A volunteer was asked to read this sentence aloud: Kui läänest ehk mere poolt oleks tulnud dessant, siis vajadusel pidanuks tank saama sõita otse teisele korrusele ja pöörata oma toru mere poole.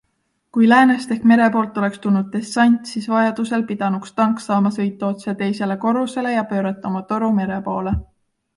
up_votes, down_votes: 2, 0